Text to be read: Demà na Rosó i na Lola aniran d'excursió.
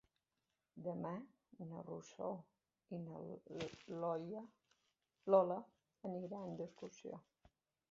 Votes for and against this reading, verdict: 0, 2, rejected